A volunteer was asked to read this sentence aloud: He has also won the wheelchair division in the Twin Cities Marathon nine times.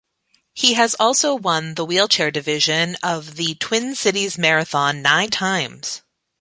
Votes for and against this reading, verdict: 0, 2, rejected